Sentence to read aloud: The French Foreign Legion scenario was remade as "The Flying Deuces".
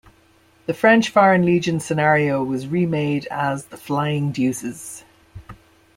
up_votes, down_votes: 2, 0